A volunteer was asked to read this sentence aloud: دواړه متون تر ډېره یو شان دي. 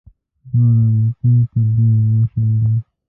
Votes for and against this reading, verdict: 0, 2, rejected